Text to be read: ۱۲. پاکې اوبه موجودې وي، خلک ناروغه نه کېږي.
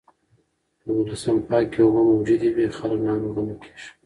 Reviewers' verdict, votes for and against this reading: rejected, 0, 2